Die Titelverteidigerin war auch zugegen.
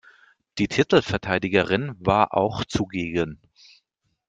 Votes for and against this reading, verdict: 2, 0, accepted